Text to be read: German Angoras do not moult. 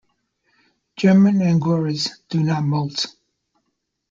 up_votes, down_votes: 2, 0